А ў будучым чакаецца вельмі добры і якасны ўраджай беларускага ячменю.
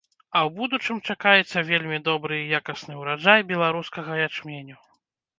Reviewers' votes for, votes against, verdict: 2, 0, accepted